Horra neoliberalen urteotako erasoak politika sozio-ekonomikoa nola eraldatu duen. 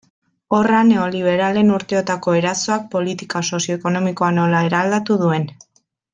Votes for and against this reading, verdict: 2, 0, accepted